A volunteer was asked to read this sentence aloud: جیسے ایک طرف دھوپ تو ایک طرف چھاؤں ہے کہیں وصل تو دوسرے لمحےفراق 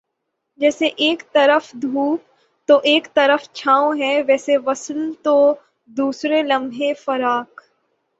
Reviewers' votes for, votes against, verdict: 3, 6, rejected